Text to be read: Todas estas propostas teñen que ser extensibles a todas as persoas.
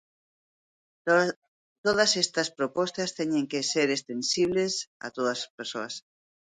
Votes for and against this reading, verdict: 0, 2, rejected